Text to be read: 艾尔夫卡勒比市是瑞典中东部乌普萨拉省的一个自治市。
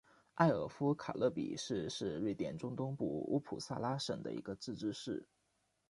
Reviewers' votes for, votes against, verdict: 2, 0, accepted